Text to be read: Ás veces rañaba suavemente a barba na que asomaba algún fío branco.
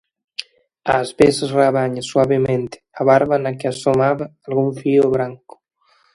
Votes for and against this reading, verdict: 0, 2, rejected